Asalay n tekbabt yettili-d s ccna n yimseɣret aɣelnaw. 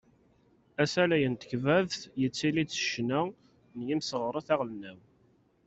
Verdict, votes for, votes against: accepted, 2, 0